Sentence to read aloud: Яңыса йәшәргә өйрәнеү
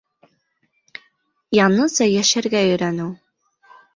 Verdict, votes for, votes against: rejected, 2, 3